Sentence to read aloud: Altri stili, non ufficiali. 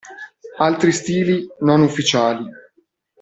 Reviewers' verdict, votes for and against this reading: accepted, 2, 0